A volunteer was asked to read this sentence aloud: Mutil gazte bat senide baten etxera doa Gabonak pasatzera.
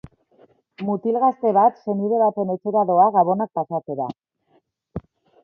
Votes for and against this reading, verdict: 2, 1, accepted